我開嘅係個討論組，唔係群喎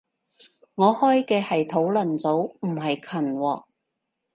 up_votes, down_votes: 0, 2